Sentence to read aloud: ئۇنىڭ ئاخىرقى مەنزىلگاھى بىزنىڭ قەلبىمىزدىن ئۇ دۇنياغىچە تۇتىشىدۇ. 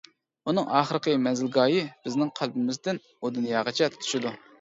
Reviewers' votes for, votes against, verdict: 2, 0, accepted